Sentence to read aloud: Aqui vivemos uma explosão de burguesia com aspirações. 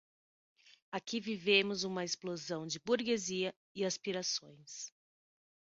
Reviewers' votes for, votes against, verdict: 0, 6, rejected